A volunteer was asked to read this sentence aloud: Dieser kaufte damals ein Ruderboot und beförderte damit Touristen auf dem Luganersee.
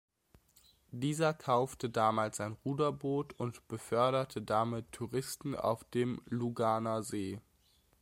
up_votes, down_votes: 2, 0